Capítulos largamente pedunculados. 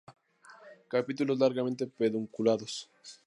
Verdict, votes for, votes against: rejected, 2, 2